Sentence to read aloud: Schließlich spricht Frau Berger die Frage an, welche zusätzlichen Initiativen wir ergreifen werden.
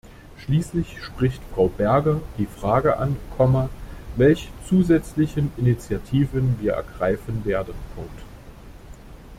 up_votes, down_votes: 0, 2